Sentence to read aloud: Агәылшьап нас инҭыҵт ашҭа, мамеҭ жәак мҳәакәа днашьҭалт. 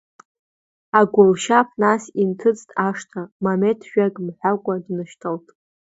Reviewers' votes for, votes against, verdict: 0, 2, rejected